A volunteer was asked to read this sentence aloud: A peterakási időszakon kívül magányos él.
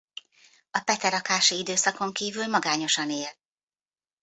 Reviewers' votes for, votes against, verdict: 0, 2, rejected